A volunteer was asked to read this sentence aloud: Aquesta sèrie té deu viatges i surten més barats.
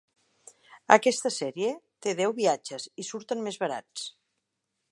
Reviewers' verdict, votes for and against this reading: accepted, 3, 0